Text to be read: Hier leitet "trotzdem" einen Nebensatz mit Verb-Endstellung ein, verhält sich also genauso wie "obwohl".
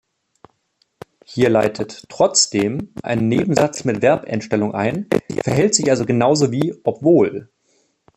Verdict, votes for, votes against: rejected, 1, 2